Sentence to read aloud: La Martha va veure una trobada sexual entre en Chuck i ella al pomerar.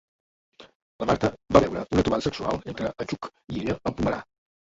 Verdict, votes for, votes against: rejected, 0, 2